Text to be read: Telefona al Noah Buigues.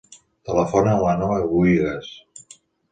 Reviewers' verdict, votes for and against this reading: rejected, 0, 2